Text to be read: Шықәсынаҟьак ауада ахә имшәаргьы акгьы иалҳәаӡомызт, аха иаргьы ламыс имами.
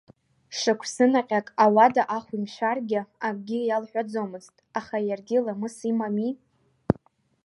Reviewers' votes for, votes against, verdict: 2, 0, accepted